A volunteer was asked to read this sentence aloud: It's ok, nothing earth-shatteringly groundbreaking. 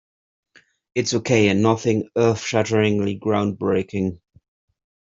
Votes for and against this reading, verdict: 2, 0, accepted